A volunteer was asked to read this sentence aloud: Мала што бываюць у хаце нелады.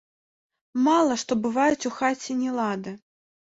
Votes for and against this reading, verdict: 1, 2, rejected